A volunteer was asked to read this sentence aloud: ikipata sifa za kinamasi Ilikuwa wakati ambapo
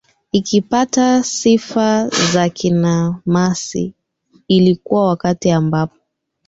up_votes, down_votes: 2, 3